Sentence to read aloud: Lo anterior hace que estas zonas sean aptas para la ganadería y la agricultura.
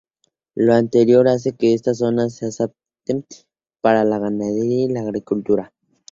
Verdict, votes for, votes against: rejected, 0, 2